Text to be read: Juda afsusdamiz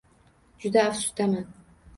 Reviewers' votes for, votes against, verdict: 1, 2, rejected